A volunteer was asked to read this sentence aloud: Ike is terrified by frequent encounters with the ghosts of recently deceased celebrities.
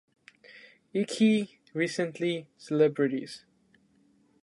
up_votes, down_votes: 0, 2